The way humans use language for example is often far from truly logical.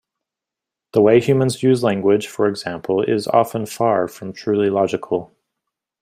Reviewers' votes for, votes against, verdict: 2, 0, accepted